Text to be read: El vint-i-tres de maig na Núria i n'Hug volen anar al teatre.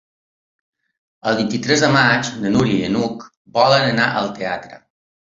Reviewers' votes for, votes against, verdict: 3, 0, accepted